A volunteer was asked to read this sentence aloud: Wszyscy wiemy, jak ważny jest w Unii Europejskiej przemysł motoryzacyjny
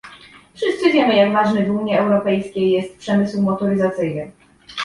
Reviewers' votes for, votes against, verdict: 0, 2, rejected